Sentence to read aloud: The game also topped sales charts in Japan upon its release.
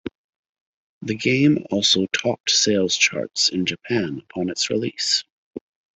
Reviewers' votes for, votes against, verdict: 2, 1, accepted